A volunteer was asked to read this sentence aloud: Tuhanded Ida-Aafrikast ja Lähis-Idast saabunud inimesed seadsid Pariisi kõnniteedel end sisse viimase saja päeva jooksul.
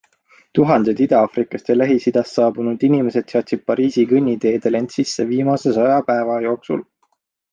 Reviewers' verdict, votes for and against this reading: accepted, 3, 0